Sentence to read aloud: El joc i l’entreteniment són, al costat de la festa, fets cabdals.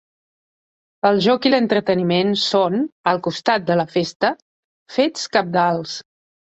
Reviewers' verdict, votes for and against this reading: rejected, 1, 2